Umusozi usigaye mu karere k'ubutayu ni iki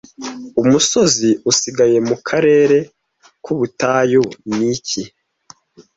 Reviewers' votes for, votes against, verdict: 2, 1, accepted